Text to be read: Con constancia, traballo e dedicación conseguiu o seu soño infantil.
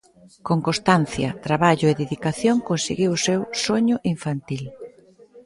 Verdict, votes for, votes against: accepted, 4, 0